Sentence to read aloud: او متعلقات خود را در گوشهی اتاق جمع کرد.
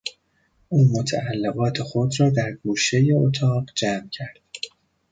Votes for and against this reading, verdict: 2, 0, accepted